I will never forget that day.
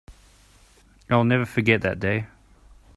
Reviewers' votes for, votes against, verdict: 2, 0, accepted